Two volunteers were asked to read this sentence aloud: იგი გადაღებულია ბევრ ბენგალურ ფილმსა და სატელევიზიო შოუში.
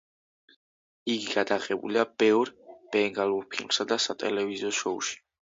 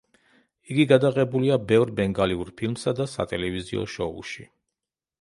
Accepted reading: first